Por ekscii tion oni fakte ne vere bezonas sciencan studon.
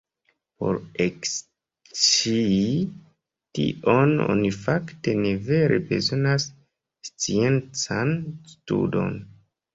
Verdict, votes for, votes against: rejected, 0, 2